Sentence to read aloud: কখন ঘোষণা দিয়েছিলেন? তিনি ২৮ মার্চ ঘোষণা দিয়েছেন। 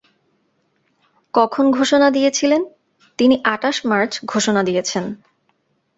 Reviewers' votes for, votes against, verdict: 0, 2, rejected